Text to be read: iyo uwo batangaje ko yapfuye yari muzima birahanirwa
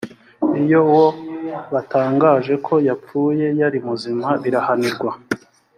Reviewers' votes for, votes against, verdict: 3, 0, accepted